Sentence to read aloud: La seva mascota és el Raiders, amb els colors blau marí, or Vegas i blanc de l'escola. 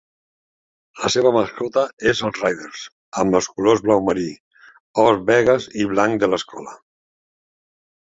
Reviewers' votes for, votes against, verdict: 3, 1, accepted